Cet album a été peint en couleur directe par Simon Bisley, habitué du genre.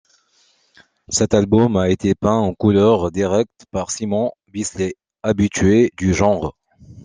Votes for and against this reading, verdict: 2, 1, accepted